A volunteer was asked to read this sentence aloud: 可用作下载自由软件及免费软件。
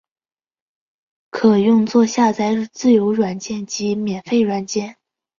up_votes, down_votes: 0, 2